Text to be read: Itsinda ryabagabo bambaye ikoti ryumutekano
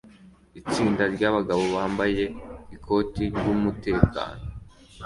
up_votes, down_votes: 2, 1